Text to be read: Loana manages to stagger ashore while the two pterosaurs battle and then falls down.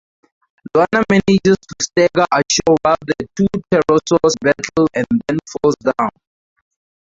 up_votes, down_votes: 2, 0